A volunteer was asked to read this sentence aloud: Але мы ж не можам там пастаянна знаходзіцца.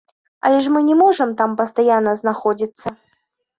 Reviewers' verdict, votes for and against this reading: rejected, 1, 2